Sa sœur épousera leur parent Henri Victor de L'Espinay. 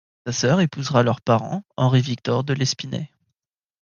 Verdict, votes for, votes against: rejected, 1, 2